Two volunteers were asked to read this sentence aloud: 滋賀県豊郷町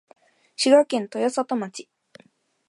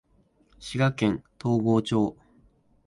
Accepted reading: first